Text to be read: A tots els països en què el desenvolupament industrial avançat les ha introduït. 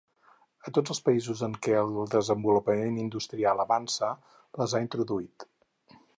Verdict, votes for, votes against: rejected, 2, 4